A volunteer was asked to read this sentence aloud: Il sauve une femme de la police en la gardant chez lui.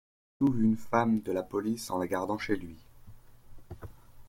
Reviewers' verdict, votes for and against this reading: rejected, 0, 2